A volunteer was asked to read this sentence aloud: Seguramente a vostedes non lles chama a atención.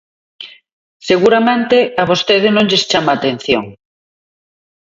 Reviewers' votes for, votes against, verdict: 0, 2, rejected